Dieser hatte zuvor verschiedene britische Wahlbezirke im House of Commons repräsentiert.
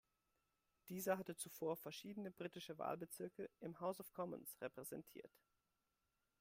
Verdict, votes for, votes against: rejected, 1, 2